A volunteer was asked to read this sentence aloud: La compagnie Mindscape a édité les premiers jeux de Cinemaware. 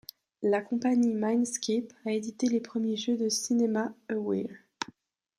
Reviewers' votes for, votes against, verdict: 1, 2, rejected